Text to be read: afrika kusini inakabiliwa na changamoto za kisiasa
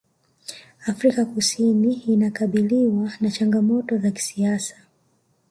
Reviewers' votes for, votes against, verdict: 2, 1, accepted